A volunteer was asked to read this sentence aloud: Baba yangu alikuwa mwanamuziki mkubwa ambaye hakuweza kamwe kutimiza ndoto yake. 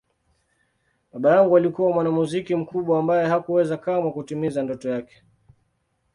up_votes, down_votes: 2, 0